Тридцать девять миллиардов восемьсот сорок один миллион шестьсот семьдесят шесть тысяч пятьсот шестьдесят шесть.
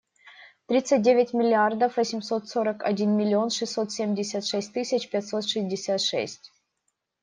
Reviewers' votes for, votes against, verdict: 2, 0, accepted